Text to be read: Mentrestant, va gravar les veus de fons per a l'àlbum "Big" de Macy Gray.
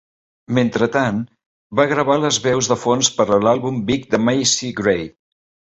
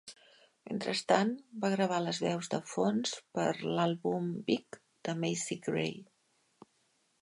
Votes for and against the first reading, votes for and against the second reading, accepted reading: 2, 3, 2, 0, second